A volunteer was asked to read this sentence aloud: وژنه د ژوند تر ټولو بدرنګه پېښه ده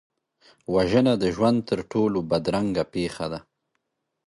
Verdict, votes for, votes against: accepted, 2, 0